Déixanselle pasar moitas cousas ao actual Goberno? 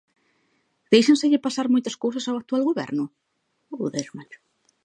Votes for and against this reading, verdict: 0, 2, rejected